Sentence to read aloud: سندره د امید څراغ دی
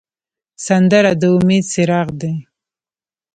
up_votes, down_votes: 1, 2